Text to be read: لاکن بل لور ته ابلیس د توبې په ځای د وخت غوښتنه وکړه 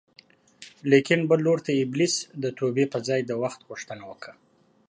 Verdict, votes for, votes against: accepted, 2, 0